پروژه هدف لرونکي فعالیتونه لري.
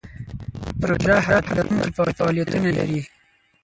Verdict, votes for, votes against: rejected, 2, 4